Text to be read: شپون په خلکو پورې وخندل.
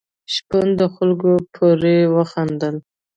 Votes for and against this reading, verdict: 2, 0, accepted